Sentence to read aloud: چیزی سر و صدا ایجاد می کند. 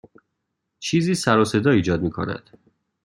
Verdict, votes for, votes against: accepted, 2, 0